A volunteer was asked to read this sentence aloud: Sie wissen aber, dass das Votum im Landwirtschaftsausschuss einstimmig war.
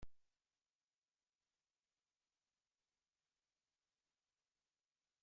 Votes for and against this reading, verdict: 0, 2, rejected